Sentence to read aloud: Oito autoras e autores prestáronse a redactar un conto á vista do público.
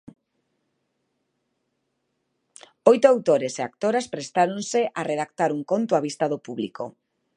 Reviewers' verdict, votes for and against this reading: rejected, 1, 2